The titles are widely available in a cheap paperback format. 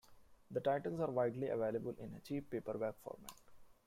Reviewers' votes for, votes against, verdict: 1, 2, rejected